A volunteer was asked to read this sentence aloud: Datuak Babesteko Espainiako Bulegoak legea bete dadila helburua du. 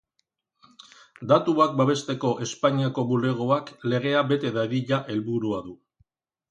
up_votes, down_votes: 0, 2